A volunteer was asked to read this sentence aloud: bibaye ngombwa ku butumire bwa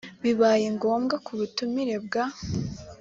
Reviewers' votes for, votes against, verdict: 2, 0, accepted